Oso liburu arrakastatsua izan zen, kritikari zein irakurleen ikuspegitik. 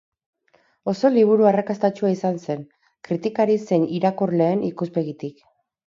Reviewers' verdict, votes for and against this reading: rejected, 2, 2